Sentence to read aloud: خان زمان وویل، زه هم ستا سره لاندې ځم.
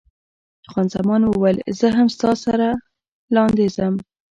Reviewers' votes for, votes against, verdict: 2, 1, accepted